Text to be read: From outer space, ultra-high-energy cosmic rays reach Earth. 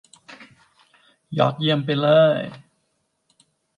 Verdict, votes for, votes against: rejected, 0, 2